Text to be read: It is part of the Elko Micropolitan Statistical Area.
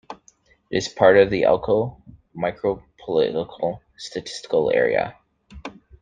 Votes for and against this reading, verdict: 1, 2, rejected